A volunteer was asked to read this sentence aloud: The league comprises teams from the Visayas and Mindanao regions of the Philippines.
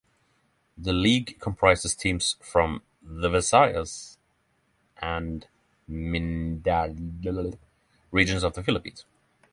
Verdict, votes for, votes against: rejected, 3, 6